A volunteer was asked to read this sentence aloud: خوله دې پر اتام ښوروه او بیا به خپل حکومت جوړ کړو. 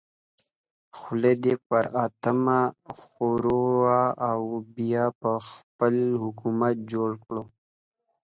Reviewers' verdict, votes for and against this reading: rejected, 0, 2